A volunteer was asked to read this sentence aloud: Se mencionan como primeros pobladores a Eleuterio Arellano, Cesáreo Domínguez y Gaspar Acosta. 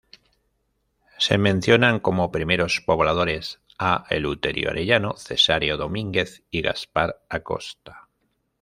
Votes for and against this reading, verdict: 2, 0, accepted